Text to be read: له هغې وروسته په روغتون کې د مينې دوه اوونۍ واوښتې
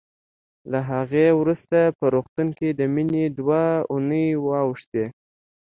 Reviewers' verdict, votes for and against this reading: accepted, 2, 0